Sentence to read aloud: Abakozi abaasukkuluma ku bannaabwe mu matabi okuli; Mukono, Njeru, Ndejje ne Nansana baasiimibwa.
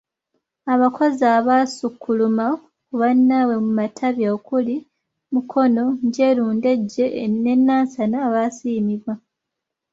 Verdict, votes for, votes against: rejected, 1, 2